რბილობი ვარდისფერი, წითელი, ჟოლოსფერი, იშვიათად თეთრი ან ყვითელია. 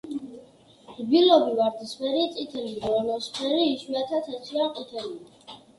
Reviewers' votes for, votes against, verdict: 2, 0, accepted